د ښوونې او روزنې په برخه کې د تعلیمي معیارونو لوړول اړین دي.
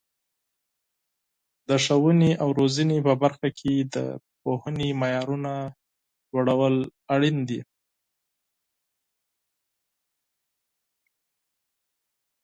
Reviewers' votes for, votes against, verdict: 2, 4, rejected